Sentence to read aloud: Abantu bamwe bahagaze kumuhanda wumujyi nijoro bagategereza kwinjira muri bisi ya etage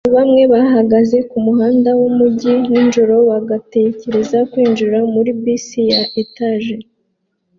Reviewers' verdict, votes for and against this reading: rejected, 0, 2